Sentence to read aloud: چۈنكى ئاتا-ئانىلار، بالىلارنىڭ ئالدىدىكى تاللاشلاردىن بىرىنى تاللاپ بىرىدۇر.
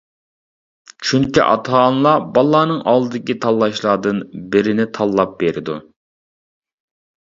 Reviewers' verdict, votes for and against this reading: rejected, 0, 2